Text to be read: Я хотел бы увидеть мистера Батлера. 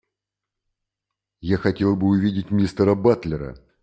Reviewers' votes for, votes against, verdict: 2, 0, accepted